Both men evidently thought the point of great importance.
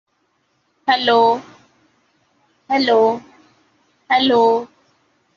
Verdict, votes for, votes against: rejected, 0, 2